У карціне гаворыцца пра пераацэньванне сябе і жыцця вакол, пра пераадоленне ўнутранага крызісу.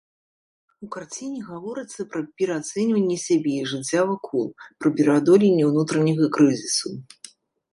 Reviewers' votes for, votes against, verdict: 0, 2, rejected